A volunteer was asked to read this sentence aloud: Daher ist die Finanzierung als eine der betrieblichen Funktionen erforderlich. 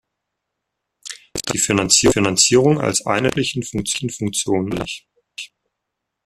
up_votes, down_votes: 0, 2